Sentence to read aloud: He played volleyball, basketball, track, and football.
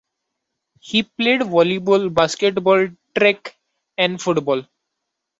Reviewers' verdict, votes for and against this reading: accepted, 2, 1